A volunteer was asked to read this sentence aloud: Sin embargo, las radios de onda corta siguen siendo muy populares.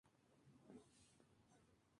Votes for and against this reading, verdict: 0, 2, rejected